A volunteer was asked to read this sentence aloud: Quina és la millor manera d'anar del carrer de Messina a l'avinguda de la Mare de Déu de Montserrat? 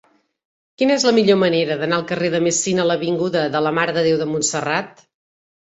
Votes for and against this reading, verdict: 0, 2, rejected